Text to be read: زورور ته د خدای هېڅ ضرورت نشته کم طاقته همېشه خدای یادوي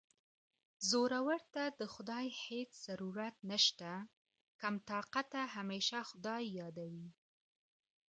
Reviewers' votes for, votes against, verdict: 2, 0, accepted